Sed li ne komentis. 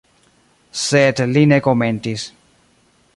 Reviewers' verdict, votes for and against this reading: rejected, 1, 2